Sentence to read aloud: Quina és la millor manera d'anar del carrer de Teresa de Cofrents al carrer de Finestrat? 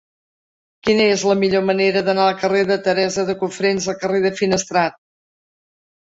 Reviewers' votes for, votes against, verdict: 1, 2, rejected